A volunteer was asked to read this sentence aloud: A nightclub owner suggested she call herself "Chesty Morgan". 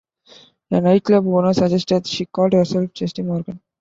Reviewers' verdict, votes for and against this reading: rejected, 0, 2